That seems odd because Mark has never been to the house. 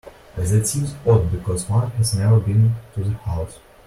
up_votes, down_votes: 1, 2